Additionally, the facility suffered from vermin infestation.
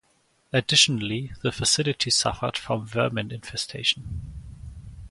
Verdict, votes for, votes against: accepted, 4, 0